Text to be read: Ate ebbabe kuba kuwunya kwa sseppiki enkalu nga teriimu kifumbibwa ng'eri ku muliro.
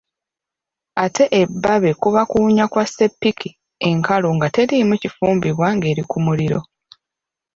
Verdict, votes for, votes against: rejected, 1, 2